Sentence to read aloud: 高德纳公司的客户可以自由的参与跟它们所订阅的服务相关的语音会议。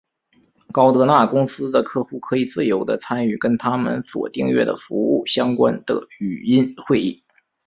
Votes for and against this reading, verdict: 2, 0, accepted